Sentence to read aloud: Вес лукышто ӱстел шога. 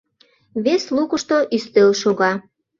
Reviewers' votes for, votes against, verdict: 2, 0, accepted